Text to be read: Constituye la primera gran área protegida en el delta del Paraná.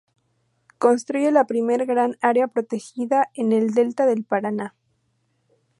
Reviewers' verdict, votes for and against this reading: rejected, 0, 2